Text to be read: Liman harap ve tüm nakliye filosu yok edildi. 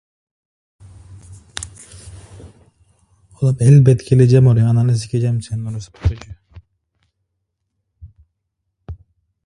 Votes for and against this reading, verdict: 0, 2, rejected